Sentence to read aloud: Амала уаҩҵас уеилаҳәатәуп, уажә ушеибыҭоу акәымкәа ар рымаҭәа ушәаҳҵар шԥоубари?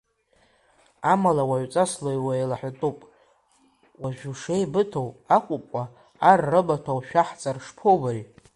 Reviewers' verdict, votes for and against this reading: accepted, 2, 0